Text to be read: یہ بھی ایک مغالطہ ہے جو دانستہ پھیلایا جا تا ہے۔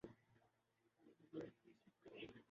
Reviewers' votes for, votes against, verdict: 0, 3, rejected